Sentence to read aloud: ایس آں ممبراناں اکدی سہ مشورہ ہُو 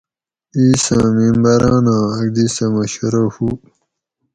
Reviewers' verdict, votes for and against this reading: rejected, 2, 2